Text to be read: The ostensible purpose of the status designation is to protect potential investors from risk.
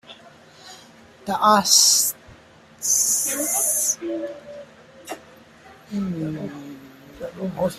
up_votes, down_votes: 1, 2